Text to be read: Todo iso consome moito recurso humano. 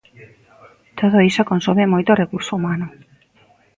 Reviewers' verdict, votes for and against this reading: accepted, 2, 0